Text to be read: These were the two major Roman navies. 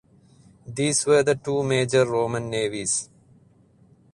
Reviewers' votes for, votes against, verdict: 4, 0, accepted